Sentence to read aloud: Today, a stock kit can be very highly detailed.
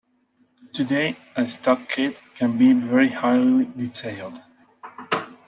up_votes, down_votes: 2, 0